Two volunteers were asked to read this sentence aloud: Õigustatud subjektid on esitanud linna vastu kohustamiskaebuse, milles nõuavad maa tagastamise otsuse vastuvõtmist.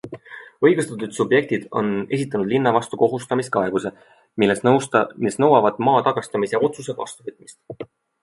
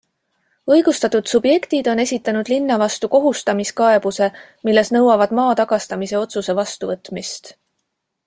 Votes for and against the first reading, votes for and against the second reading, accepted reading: 1, 2, 2, 0, second